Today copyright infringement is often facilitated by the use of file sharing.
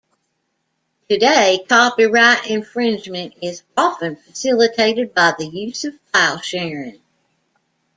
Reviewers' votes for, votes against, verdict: 2, 0, accepted